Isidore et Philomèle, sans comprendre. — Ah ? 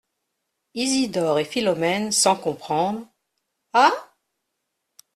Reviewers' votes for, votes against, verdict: 2, 1, accepted